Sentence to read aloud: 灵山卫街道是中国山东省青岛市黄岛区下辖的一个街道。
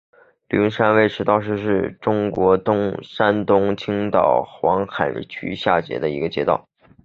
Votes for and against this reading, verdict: 0, 3, rejected